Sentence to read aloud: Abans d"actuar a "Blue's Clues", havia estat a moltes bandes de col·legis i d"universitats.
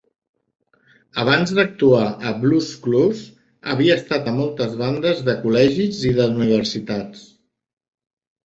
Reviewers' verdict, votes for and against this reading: rejected, 1, 2